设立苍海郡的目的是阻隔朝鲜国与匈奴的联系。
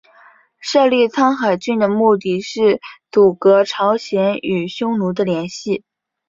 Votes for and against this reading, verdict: 2, 0, accepted